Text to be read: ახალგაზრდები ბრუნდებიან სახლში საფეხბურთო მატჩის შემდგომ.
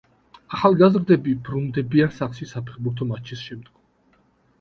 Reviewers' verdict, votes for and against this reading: accepted, 2, 0